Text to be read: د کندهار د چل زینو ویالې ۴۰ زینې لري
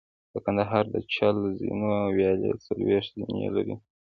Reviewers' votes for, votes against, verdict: 0, 2, rejected